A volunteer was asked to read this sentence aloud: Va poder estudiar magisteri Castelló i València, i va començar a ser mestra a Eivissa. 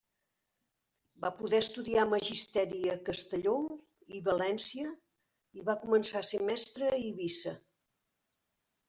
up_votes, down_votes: 0, 2